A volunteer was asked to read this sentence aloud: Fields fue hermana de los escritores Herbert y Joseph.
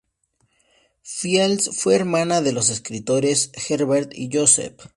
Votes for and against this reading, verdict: 2, 0, accepted